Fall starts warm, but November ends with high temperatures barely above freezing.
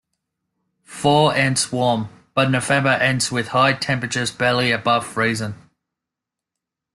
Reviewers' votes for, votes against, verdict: 1, 2, rejected